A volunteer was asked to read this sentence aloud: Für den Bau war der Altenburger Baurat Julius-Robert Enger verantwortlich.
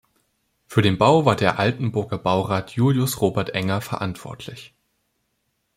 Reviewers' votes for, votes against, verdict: 2, 0, accepted